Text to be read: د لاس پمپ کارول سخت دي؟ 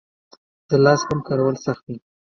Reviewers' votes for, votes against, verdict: 2, 1, accepted